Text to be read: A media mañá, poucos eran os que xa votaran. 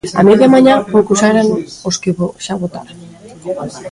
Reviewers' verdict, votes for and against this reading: rejected, 0, 2